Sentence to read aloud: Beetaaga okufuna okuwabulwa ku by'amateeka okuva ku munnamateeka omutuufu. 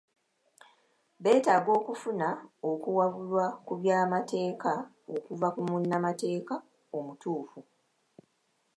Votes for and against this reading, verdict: 2, 0, accepted